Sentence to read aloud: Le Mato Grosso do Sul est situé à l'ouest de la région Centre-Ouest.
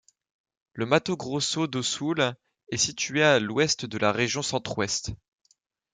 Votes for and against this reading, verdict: 2, 0, accepted